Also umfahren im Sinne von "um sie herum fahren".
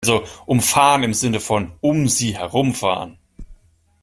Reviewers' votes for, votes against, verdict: 1, 2, rejected